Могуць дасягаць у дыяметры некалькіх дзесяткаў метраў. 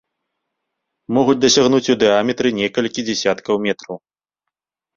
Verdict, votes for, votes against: rejected, 0, 2